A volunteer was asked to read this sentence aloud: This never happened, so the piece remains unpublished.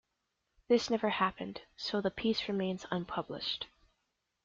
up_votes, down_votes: 2, 0